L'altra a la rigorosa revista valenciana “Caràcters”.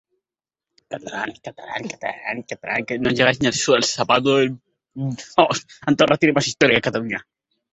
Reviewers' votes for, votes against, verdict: 1, 6, rejected